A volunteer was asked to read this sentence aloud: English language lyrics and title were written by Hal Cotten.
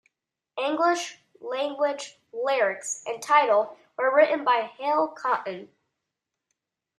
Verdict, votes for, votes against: accepted, 2, 0